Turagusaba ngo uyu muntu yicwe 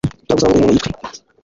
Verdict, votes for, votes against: rejected, 0, 2